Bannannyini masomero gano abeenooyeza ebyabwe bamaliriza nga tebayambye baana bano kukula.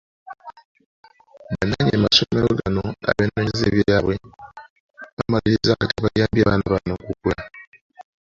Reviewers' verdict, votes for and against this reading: rejected, 0, 2